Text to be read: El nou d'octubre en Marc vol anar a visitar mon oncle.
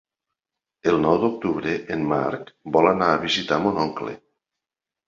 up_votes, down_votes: 3, 0